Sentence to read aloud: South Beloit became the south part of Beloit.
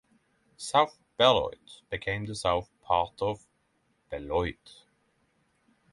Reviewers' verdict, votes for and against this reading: rejected, 3, 3